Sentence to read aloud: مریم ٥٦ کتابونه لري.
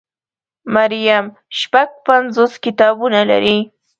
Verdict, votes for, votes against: rejected, 0, 2